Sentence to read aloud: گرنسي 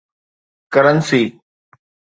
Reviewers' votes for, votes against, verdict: 2, 0, accepted